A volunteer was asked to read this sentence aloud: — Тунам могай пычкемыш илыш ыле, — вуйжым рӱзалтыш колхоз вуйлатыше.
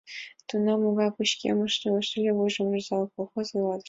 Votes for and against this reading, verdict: 1, 2, rejected